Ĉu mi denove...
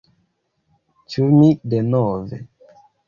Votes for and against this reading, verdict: 2, 0, accepted